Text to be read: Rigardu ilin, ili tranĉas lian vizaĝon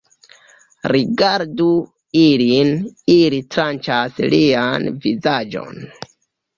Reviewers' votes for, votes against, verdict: 2, 0, accepted